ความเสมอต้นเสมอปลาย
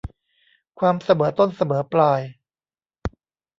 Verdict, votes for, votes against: rejected, 1, 2